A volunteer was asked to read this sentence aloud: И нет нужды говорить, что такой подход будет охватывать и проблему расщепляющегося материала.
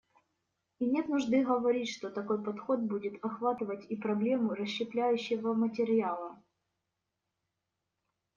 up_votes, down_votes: 1, 2